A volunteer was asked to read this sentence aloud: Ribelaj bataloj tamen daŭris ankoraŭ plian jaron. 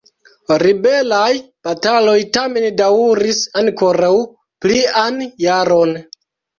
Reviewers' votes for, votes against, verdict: 0, 2, rejected